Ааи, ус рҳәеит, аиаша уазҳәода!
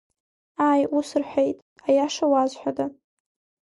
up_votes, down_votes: 2, 0